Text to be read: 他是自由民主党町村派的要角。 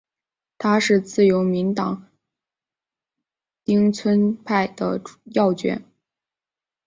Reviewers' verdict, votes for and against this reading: rejected, 2, 3